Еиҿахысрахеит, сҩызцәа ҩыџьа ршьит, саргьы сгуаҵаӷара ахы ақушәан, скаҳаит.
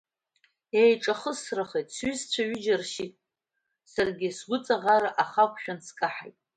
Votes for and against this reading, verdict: 1, 2, rejected